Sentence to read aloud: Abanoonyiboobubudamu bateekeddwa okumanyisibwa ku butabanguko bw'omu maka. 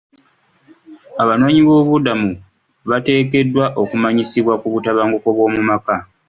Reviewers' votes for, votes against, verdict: 2, 0, accepted